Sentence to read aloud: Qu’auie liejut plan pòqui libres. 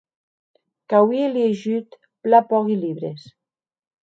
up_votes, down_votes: 2, 0